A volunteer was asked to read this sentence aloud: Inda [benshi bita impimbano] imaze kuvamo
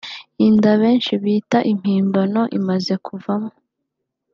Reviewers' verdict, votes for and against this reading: accepted, 3, 0